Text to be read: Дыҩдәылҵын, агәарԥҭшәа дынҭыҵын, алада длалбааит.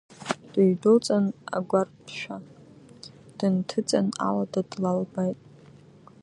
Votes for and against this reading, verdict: 2, 1, accepted